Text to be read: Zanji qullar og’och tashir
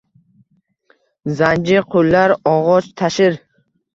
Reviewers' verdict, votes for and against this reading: accepted, 2, 0